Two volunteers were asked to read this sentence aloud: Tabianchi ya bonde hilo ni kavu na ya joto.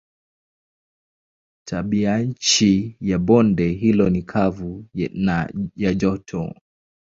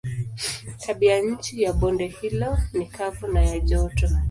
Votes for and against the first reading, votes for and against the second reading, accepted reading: 10, 3, 0, 2, first